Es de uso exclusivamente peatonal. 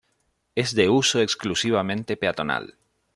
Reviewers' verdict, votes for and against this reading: accepted, 2, 0